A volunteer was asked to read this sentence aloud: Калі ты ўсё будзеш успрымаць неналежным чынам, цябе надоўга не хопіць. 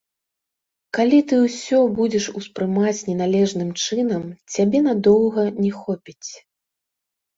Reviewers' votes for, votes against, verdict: 1, 3, rejected